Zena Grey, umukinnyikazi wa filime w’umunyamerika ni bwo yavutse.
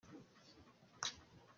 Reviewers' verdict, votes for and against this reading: rejected, 0, 2